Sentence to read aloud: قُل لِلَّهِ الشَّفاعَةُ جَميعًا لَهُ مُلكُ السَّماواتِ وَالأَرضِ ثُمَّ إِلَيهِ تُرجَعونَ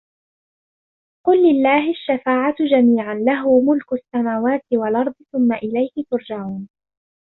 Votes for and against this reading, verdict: 2, 0, accepted